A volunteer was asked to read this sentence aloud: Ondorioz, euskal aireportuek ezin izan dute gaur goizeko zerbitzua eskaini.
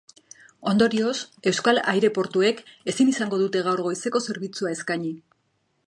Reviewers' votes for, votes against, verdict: 1, 2, rejected